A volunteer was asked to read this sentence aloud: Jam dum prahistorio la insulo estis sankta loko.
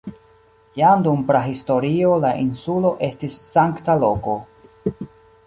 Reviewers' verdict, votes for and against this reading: accepted, 2, 0